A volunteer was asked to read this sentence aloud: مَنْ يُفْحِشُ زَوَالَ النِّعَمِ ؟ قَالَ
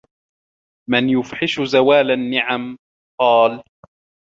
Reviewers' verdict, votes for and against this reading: rejected, 1, 2